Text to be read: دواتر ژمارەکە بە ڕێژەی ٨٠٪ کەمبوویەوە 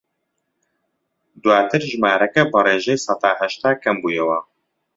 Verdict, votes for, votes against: rejected, 0, 2